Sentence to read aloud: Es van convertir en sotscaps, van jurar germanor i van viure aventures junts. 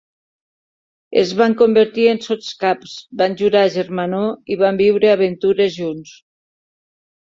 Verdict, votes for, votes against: accepted, 2, 0